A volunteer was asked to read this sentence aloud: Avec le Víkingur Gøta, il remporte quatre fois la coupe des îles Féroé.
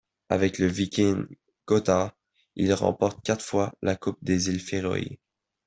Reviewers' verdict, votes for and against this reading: accepted, 2, 0